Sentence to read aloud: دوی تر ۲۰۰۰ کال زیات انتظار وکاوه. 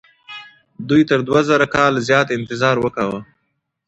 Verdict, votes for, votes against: rejected, 0, 2